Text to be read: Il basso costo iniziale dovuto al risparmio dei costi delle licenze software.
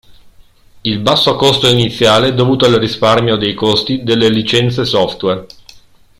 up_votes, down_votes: 2, 0